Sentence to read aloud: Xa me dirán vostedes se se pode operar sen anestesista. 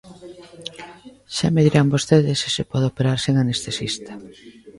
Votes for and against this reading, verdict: 0, 2, rejected